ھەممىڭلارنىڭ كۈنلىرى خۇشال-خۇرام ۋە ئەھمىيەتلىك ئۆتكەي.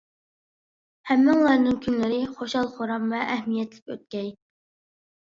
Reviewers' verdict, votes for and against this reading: accepted, 2, 0